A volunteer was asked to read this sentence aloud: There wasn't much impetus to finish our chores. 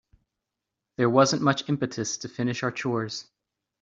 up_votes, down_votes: 2, 0